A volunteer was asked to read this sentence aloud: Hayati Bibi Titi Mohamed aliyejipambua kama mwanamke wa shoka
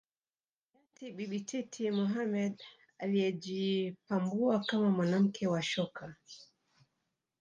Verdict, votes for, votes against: accepted, 3, 0